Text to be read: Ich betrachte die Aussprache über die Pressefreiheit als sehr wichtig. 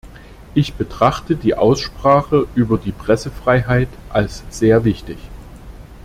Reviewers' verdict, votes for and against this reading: accepted, 2, 0